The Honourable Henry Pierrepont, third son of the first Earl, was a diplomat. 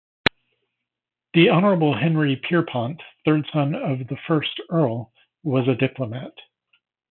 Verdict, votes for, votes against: accepted, 2, 0